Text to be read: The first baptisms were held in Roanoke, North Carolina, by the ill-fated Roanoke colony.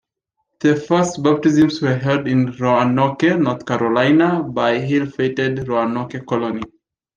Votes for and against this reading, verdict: 2, 1, accepted